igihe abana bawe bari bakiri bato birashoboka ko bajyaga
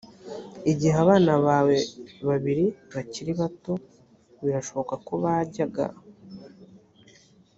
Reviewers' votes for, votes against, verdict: 3, 0, accepted